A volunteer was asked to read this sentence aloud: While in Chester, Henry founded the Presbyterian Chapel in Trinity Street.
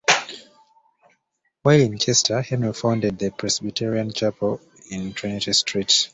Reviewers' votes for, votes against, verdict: 0, 2, rejected